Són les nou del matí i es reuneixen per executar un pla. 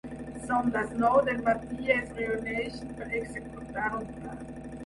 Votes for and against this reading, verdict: 4, 6, rejected